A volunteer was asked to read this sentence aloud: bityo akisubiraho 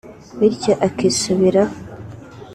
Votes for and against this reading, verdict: 2, 0, accepted